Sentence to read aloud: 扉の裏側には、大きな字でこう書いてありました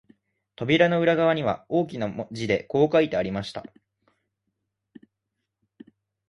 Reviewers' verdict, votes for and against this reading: accepted, 2, 0